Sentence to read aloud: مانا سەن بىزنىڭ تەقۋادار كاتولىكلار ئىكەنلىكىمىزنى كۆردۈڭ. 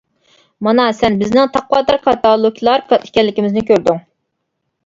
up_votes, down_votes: 0, 2